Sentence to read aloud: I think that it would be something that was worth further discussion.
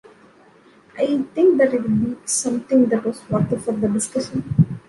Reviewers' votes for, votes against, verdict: 1, 2, rejected